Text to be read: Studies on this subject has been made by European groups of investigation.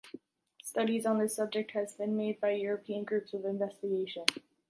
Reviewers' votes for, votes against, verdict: 2, 1, accepted